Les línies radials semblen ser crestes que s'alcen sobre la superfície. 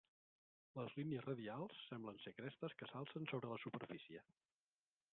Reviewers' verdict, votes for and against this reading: rejected, 0, 2